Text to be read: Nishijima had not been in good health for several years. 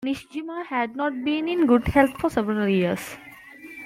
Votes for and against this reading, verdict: 2, 1, accepted